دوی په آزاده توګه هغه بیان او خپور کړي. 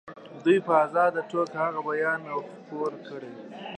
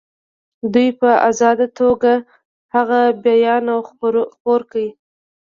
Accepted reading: first